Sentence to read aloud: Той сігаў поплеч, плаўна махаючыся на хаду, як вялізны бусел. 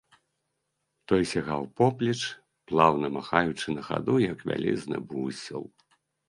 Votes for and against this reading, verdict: 1, 2, rejected